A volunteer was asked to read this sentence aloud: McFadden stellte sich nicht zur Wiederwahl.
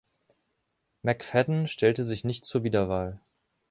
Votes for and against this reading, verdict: 2, 0, accepted